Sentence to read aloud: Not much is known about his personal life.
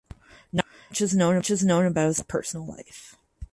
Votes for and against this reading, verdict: 0, 4, rejected